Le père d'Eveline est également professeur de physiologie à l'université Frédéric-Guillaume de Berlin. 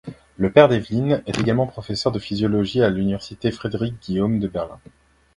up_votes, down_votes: 0, 2